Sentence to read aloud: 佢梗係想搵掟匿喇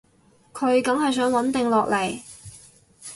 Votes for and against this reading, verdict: 0, 6, rejected